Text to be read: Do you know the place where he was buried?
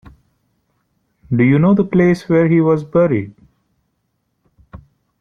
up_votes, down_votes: 2, 0